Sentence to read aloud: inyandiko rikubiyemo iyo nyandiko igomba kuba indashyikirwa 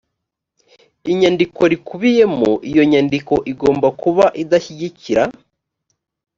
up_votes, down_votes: 1, 3